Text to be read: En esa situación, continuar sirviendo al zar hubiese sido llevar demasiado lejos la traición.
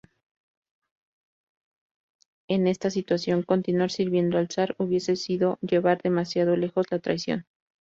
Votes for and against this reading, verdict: 0, 2, rejected